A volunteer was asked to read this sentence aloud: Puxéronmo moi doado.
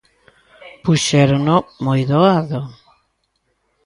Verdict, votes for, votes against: rejected, 1, 2